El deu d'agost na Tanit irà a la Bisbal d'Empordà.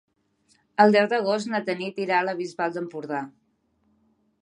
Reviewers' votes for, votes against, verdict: 3, 0, accepted